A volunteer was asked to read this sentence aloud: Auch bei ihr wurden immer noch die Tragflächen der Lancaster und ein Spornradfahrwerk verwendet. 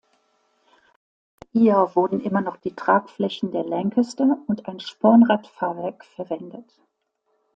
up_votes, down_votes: 0, 2